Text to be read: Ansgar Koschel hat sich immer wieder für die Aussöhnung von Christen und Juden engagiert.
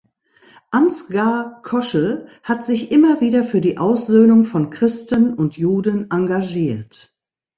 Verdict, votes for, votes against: accepted, 2, 0